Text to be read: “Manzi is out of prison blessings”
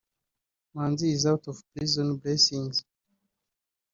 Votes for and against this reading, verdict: 1, 2, rejected